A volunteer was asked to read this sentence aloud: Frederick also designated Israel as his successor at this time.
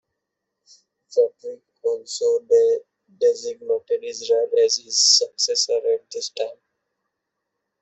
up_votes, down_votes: 0, 2